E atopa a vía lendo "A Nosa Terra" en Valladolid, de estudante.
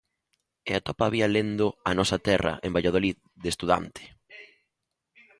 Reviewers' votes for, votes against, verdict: 2, 1, accepted